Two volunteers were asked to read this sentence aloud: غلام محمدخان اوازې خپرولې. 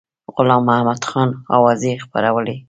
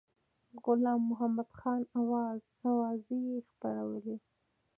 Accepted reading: first